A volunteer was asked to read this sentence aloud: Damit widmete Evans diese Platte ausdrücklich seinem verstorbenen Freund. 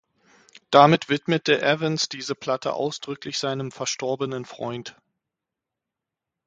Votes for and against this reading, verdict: 6, 0, accepted